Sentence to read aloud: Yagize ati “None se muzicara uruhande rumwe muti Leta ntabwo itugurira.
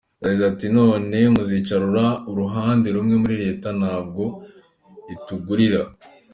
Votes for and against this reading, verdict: 0, 2, rejected